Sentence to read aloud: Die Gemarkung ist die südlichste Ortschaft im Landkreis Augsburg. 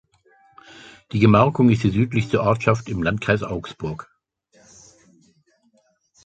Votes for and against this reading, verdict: 2, 1, accepted